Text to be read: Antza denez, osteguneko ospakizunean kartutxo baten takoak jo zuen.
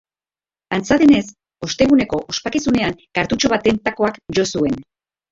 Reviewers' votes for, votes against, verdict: 2, 0, accepted